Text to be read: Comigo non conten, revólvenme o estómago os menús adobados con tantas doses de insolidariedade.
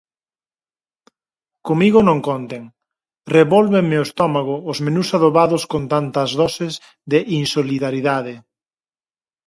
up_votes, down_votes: 0, 4